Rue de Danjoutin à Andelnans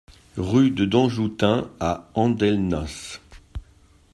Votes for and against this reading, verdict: 1, 2, rejected